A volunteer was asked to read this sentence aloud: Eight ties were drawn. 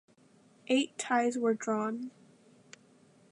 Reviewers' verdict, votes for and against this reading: accepted, 2, 0